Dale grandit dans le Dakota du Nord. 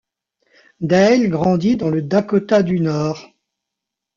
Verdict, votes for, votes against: rejected, 1, 2